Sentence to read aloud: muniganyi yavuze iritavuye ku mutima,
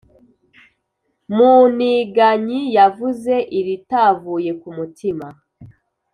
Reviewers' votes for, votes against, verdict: 2, 0, accepted